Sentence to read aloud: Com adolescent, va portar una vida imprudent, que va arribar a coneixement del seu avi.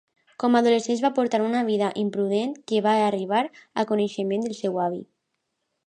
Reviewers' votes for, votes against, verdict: 2, 1, accepted